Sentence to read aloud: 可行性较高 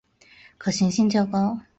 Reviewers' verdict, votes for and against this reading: accepted, 5, 0